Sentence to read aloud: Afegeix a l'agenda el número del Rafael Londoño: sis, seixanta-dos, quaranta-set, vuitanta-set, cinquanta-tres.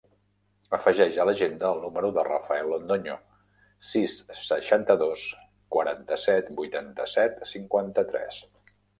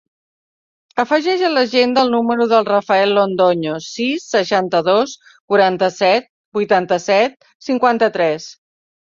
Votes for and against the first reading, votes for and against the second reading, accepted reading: 0, 2, 3, 0, second